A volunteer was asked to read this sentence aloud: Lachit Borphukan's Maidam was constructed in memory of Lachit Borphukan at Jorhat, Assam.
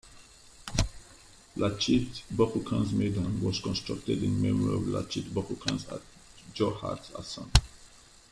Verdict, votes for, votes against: rejected, 1, 2